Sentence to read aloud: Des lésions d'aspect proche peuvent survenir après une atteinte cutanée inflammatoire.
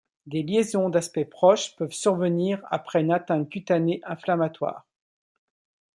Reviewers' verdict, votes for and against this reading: accepted, 2, 0